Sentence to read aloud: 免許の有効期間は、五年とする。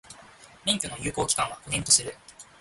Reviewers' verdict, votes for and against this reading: accepted, 2, 0